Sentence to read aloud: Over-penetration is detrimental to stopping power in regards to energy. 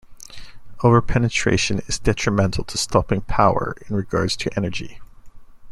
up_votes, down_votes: 2, 0